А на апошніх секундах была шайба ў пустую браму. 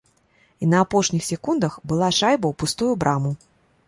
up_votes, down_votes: 0, 2